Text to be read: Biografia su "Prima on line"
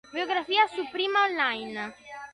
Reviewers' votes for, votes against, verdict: 2, 0, accepted